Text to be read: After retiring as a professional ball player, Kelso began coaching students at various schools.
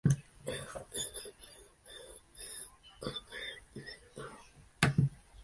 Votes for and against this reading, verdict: 0, 2, rejected